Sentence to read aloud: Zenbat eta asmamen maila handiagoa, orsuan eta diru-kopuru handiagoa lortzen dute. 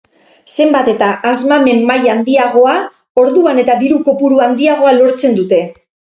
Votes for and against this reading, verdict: 2, 0, accepted